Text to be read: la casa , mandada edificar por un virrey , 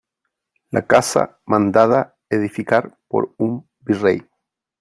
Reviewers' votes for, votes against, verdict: 3, 0, accepted